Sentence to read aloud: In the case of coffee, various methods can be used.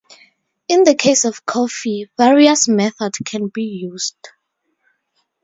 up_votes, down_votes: 4, 0